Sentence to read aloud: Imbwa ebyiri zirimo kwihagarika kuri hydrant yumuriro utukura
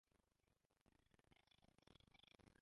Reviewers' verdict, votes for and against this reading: rejected, 0, 2